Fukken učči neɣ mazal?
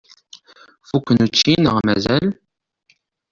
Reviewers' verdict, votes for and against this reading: accepted, 2, 0